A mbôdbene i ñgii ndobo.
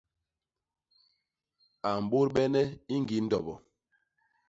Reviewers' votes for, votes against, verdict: 2, 0, accepted